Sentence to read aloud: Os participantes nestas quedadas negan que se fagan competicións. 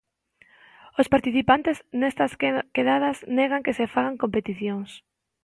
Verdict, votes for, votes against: rejected, 0, 2